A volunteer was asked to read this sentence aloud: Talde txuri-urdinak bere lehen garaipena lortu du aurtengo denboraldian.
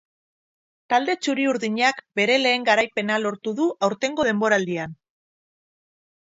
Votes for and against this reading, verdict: 4, 0, accepted